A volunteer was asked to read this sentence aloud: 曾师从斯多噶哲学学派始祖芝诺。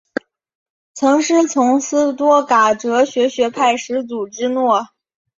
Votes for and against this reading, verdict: 2, 0, accepted